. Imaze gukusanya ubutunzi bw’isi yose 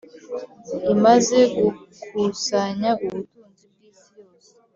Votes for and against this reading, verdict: 1, 2, rejected